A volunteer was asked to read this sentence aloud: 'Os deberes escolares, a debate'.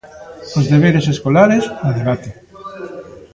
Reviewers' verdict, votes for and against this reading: accepted, 2, 0